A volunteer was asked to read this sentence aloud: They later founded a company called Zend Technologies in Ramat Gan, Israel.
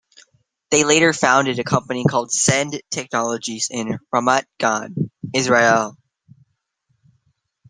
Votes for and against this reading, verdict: 1, 2, rejected